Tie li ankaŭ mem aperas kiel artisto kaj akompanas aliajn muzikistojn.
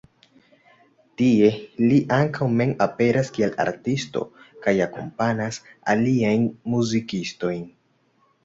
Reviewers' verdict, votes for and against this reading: accepted, 2, 0